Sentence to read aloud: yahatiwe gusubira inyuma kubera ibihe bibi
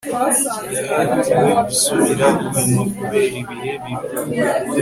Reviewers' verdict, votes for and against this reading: accepted, 2, 0